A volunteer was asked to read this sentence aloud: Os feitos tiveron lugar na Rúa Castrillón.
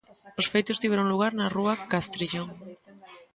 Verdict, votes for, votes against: rejected, 0, 2